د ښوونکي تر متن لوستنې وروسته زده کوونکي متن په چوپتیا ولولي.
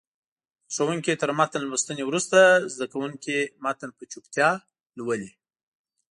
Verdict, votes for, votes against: rejected, 1, 2